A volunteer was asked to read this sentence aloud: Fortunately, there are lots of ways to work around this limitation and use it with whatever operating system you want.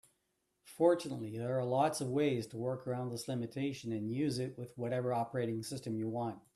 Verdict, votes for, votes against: accepted, 2, 0